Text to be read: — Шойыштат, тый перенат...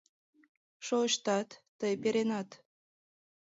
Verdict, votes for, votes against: accepted, 2, 0